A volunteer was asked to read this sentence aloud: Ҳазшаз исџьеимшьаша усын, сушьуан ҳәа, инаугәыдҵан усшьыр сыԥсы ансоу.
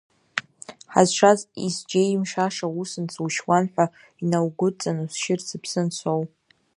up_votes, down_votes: 0, 2